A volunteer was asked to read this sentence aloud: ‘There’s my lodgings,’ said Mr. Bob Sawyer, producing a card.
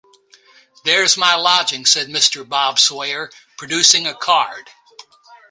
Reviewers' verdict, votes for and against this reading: rejected, 0, 2